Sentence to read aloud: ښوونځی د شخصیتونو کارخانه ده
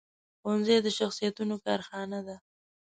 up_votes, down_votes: 2, 0